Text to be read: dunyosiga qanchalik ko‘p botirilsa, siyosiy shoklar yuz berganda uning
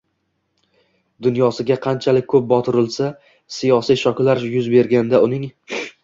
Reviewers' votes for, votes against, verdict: 1, 2, rejected